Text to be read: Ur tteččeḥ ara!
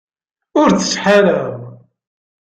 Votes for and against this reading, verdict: 0, 2, rejected